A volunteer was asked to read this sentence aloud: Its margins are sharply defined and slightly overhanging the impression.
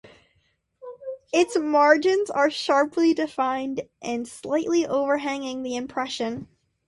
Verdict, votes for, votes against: accepted, 2, 0